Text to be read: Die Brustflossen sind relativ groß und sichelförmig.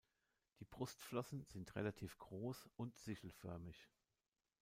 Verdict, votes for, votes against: rejected, 1, 2